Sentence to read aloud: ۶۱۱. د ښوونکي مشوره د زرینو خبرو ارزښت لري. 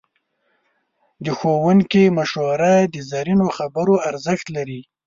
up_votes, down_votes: 0, 2